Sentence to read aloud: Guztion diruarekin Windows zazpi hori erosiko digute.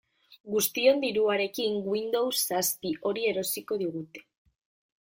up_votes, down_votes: 2, 0